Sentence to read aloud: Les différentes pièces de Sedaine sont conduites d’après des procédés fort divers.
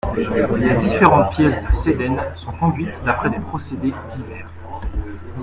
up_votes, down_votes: 0, 2